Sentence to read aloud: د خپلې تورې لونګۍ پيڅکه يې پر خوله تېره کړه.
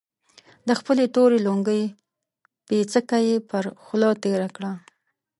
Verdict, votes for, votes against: accepted, 2, 0